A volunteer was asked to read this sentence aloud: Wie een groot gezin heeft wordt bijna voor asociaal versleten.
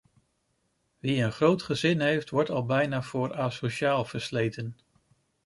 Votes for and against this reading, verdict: 0, 2, rejected